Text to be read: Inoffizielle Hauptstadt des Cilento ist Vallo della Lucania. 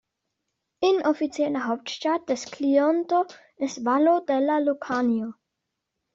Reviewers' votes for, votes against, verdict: 1, 2, rejected